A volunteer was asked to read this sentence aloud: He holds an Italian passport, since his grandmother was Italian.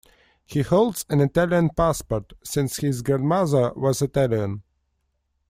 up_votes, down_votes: 2, 0